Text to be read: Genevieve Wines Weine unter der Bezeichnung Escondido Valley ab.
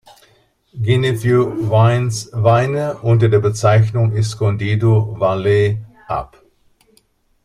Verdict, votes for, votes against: rejected, 1, 2